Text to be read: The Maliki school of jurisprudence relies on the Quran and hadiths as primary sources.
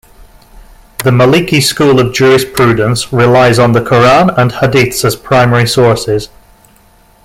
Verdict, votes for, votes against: accepted, 2, 0